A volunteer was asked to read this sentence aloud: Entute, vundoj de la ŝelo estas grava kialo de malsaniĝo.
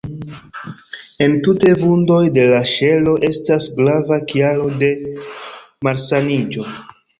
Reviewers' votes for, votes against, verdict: 2, 0, accepted